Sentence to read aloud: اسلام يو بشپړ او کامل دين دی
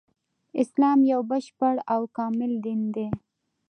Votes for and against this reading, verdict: 2, 1, accepted